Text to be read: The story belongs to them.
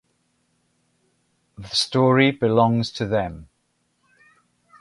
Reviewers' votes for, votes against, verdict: 2, 0, accepted